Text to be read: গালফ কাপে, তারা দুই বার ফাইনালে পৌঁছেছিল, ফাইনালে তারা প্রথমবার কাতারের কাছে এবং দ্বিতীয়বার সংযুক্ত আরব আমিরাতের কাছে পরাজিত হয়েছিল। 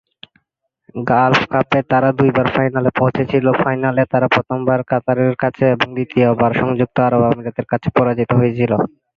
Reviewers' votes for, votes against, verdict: 2, 0, accepted